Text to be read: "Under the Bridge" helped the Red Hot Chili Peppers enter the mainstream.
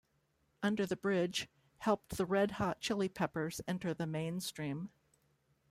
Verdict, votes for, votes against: accepted, 2, 0